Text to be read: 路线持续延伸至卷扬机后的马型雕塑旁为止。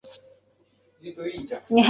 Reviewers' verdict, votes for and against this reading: rejected, 0, 2